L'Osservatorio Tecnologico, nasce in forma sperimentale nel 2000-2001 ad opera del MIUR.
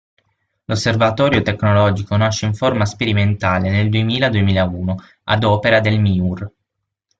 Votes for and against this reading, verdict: 0, 2, rejected